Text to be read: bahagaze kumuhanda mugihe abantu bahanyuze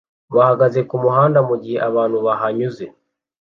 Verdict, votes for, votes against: accepted, 2, 0